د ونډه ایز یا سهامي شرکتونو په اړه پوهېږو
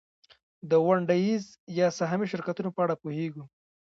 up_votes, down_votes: 2, 1